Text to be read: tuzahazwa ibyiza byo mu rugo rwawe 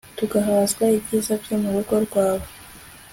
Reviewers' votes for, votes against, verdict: 2, 1, accepted